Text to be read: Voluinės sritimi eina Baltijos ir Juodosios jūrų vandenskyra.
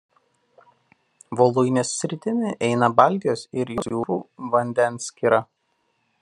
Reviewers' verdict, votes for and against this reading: rejected, 0, 2